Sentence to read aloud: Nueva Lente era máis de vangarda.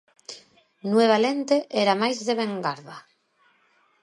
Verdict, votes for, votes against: rejected, 0, 2